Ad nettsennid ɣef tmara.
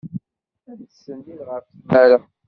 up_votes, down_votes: 1, 2